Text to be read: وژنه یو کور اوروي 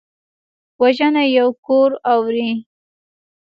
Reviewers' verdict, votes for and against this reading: accepted, 2, 0